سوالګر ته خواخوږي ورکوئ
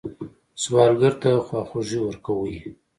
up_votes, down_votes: 2, 0